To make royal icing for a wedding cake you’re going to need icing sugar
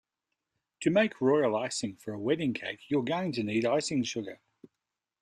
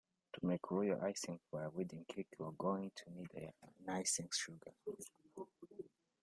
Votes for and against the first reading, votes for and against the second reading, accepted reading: 2, 0, 0, 2, first